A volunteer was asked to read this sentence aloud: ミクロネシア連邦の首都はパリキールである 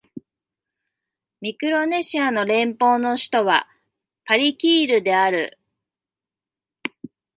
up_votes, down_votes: 2, 3